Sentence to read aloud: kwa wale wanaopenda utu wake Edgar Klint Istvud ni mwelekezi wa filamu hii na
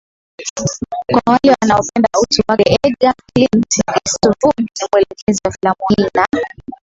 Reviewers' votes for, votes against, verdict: 1, 3, rejected